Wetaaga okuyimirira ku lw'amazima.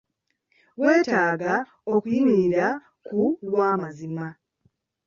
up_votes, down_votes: 2, 1